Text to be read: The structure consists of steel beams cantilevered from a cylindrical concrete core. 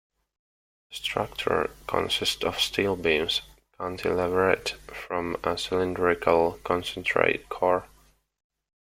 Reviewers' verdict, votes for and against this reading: rejected, 0, 2